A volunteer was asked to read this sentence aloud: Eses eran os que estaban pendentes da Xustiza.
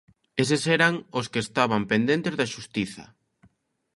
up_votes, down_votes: 2, 0